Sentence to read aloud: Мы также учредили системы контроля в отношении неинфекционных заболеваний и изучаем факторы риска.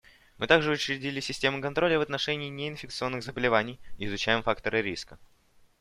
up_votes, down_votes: 2, 0